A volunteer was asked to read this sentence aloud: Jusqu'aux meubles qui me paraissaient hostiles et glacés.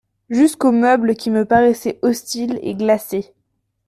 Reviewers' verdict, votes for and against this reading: accepted, 2, 0